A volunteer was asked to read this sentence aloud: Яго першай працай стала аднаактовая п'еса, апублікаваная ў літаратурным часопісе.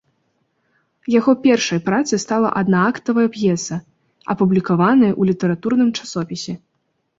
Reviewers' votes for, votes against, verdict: 1, 2, rejected